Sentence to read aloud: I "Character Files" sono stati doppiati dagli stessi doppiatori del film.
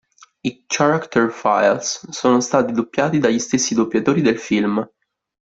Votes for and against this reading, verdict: 1, 2, rejected